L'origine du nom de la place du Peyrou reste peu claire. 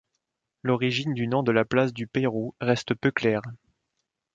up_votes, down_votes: 1, 2